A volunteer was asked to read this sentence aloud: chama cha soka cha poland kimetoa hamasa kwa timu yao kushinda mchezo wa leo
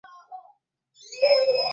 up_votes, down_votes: 0, 2